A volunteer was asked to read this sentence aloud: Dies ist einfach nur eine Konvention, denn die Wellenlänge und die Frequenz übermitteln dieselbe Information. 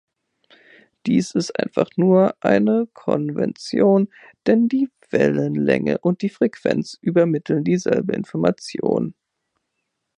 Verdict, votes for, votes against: accepted, 2, 0